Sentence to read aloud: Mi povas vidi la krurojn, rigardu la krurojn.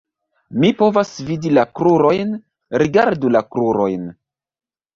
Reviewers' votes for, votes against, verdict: 2, 0, accepted